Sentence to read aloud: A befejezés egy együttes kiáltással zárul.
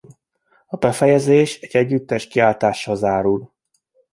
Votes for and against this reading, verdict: 2, 0, accepted